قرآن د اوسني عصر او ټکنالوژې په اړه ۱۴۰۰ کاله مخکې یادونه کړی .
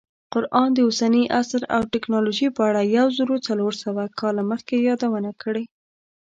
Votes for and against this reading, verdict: 0, 2, rejected